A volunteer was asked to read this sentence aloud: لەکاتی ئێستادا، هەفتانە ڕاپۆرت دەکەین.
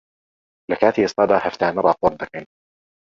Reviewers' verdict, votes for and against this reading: accepted, 2, 0